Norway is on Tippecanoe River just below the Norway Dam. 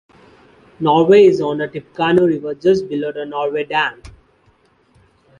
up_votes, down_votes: 2, 1